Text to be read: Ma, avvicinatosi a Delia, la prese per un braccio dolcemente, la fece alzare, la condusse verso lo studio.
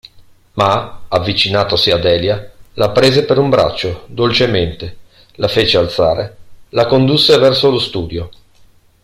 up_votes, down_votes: 2, 0